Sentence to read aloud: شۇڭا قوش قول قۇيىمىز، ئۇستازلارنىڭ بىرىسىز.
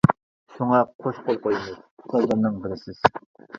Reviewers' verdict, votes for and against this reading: rejected, 0, 2